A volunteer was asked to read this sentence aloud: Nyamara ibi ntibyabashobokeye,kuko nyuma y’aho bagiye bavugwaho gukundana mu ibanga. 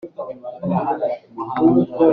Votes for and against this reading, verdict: 0, 2, rejected